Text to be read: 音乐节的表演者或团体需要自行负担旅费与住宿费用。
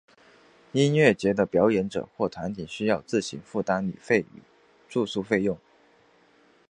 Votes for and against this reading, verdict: 3, 1, accepted